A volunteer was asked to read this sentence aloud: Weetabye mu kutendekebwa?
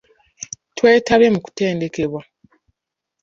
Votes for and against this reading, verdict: 0, 2, rejected